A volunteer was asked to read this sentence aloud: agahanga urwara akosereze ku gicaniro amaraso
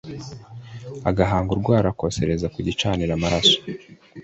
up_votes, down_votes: 2, 0